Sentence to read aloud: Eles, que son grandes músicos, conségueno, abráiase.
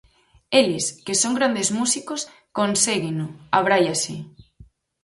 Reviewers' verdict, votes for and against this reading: accepted, 4, 0